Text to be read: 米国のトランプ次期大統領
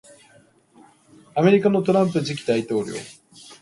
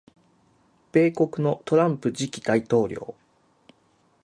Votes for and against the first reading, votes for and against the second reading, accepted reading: 0, 2, 6, 3, second